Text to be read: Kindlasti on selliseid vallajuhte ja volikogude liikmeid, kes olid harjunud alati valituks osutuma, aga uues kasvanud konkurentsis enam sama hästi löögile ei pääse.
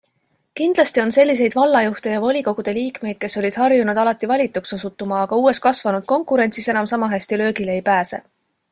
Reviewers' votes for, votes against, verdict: 2, 0, accepted